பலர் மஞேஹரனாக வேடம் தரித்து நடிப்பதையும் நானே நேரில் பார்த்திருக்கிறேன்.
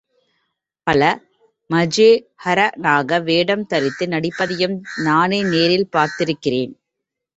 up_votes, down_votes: 3, 0